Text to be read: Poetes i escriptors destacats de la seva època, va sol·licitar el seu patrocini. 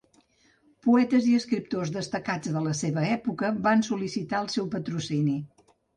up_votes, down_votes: 1, 2